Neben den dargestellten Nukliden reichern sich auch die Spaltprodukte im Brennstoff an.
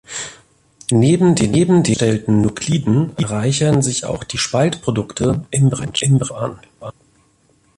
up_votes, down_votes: 0, 2